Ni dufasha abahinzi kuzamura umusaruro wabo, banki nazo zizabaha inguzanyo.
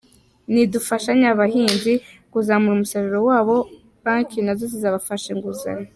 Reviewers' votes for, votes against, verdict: 1, 2, rejected